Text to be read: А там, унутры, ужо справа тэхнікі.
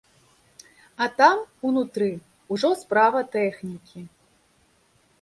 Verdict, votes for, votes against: accepted, 2, 0